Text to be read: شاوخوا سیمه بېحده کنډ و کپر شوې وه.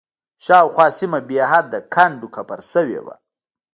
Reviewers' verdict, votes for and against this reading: accepted, 2, 0